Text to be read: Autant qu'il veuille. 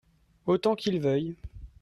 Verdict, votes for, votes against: accepted, 2, 0